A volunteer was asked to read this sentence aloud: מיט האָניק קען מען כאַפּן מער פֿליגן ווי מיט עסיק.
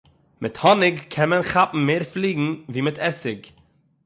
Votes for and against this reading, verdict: 6, 0, accepted